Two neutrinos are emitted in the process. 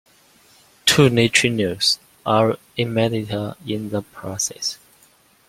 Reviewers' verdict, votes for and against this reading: accepted, 2, 1